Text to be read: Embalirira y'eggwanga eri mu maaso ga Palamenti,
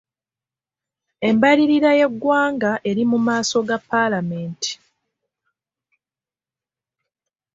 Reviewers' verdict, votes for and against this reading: accepted, 2, 1